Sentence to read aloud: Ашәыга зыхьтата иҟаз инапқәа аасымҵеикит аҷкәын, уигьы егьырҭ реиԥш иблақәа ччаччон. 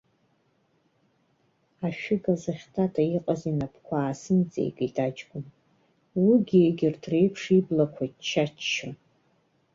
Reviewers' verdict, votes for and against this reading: accepted, 2, 0